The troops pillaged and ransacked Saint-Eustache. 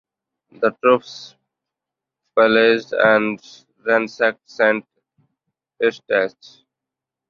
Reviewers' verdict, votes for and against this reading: accepted, 2, 1